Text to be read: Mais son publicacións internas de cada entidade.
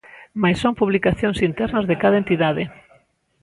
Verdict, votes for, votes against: rejected, 1, 2